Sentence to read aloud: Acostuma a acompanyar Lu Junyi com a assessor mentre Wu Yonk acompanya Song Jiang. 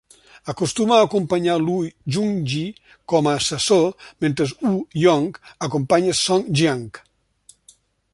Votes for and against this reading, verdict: 2, 0, accepted